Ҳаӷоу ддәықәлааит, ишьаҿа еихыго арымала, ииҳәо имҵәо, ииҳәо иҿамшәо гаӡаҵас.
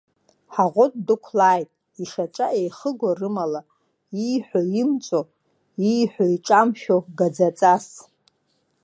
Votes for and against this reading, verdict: 2, 1, accepted